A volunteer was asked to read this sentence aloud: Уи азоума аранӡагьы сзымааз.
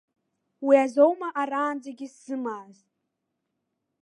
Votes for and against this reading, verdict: 2, 0, accepted